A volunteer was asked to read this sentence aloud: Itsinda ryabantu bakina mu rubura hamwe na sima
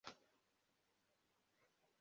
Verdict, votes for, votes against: rejected, 0, 2